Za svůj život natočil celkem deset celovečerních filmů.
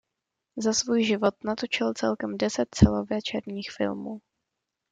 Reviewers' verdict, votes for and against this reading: accepted, 2, 0